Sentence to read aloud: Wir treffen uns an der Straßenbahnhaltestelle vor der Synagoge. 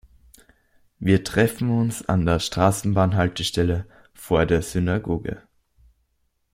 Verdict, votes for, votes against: accepted, 2, 0